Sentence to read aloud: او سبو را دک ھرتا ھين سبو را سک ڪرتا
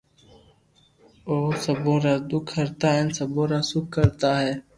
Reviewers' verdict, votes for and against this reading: accepted, 2, 0